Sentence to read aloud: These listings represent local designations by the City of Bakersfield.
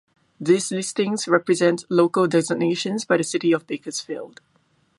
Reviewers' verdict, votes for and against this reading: accepted, 2, 0